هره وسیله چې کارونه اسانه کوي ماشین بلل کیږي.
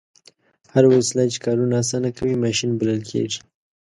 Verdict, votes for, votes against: accepted, 3, 0